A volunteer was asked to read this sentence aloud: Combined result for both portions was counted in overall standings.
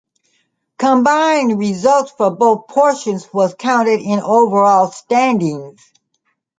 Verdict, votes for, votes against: accepted, 2, 0